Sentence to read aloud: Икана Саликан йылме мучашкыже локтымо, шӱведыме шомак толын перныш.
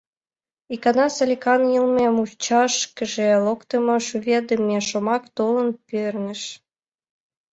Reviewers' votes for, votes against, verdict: 2, 0, accepted